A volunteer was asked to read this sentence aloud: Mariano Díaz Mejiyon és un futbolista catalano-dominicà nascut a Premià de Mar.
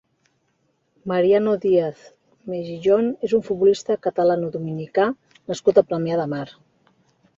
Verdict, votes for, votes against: accepted, 3, 0